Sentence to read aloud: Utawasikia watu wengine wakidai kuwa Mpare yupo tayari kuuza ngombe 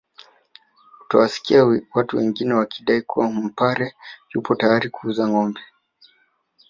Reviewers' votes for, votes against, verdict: 1, 2, rejected